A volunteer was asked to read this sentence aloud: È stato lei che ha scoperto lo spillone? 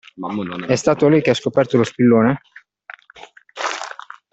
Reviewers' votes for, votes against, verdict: 2, 1, accepted